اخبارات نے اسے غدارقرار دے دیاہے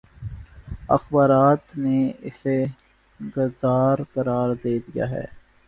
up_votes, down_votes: 3, 0